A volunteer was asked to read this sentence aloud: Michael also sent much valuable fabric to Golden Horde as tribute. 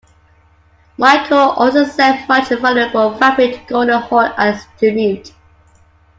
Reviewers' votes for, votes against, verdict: 2, 1, accepted